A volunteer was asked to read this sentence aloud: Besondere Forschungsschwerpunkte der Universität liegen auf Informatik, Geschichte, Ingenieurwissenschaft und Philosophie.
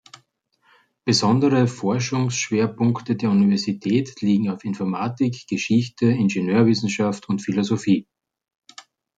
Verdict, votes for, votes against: accepted, 3, 0